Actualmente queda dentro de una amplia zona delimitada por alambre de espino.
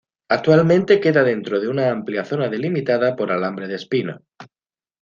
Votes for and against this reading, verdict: 2, 0, accepted